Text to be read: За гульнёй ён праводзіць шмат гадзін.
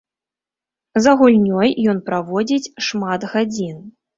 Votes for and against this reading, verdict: 2, 0, accepted